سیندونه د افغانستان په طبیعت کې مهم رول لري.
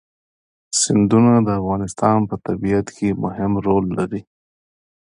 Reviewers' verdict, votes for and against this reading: rejected, 1, 2